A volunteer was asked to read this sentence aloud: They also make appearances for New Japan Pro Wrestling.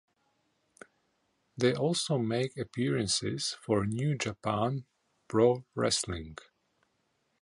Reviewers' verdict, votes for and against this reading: accepted, 2, 0